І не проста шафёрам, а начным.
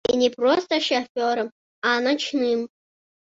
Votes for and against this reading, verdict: 1, 2, rejected